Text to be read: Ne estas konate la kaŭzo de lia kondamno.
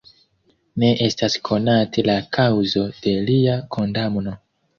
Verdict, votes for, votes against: accepted, 2, 0